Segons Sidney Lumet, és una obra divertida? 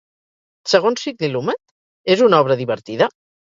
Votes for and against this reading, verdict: 0, 2, rejected